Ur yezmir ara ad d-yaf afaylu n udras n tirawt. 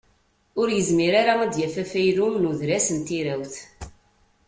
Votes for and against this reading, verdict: 2, 0, accepted